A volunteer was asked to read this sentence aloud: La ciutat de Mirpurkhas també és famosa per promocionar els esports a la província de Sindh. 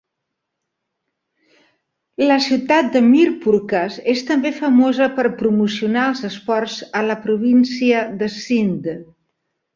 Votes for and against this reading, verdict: 1, 2, rejected